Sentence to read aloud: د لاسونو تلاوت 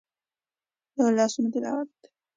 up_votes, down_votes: 2, 0